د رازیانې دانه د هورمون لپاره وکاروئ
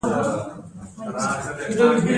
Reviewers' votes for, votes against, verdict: 2, 0, accepted